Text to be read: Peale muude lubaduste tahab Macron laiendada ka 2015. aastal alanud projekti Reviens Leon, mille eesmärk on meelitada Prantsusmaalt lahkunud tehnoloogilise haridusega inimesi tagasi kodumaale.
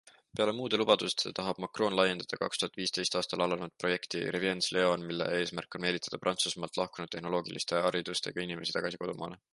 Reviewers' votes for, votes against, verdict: 0, 2, rejected